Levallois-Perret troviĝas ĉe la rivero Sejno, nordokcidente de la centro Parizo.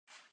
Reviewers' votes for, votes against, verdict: 2, 3, rejected